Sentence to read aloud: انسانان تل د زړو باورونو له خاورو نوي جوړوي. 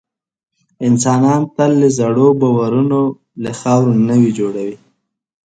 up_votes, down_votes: 2, 0